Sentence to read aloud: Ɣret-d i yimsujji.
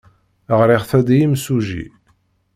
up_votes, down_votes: 1, 2